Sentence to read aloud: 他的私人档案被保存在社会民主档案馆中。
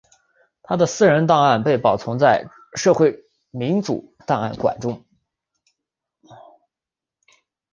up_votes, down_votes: 0, 2